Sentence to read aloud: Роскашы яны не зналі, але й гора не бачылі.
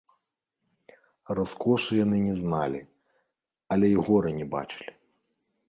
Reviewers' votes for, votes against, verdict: 0, 2, rejected